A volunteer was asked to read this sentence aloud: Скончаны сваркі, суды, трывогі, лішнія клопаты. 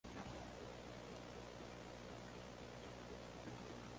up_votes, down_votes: 0, 2